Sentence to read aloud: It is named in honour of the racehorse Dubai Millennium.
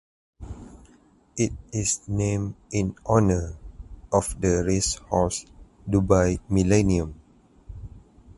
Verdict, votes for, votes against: accepted, 4, 0